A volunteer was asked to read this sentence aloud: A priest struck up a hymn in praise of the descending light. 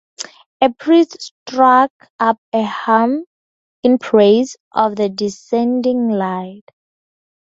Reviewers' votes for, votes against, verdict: 2, 0, accepted